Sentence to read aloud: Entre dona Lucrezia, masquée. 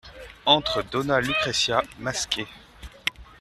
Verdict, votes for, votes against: accepted, 2, 0